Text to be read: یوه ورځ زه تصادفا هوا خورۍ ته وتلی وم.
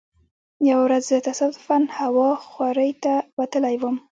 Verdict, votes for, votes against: accepted, 2, 1